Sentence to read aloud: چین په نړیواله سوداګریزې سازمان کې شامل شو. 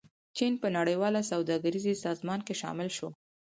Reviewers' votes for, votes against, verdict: 4, 0, accepted